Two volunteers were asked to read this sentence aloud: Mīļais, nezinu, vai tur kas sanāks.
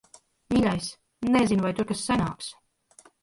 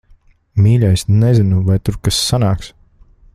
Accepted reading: second